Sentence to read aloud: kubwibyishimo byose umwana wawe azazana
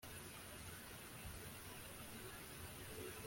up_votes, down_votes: 0, 2